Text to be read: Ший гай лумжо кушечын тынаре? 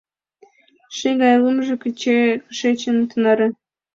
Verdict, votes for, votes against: rejected, 1, 2